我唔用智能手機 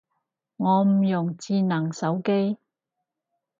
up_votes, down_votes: 4, 0